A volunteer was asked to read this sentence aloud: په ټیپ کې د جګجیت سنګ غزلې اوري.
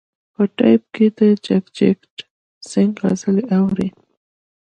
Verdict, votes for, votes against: accepted, 3, 0